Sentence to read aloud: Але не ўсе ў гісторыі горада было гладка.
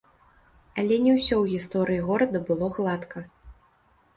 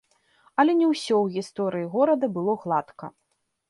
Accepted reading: second